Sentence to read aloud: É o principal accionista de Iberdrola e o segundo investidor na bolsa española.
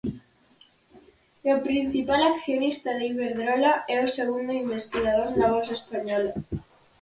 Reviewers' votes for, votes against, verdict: 2, 4, rejected